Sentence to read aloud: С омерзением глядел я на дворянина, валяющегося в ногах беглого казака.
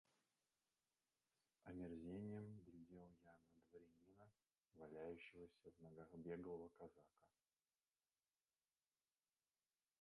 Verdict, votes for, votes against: rejected, 1, 2